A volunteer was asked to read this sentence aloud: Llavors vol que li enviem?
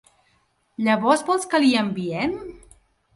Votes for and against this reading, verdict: 1, 3, rejected